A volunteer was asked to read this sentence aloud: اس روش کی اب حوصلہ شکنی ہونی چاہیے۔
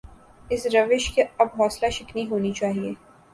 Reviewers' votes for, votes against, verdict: 2, 0, accepted